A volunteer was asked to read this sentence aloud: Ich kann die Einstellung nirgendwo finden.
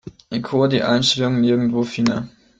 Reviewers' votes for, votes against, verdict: 1, 2, rejected